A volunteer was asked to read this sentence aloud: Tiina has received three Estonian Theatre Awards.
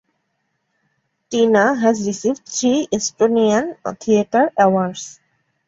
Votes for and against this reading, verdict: 0, 2, rejected